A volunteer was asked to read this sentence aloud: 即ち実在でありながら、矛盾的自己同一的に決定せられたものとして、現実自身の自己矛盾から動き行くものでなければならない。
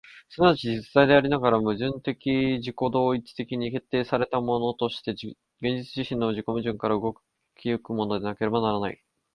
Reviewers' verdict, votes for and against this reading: accepted, 2, 1